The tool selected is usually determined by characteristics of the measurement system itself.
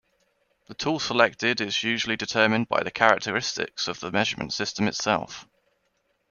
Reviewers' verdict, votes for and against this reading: rejected, 1, 2